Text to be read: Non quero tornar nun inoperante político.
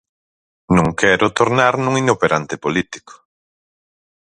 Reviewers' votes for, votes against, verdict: 4, 0, accepted